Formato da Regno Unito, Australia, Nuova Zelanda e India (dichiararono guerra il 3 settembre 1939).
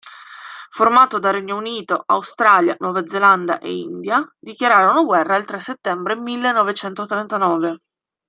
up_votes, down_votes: 0, 2